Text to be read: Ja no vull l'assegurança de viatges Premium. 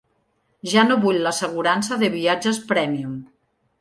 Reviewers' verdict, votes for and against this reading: accepted, 3, 0